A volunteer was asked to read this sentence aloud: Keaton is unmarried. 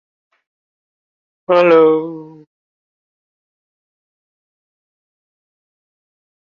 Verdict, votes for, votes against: rejected, 0, 2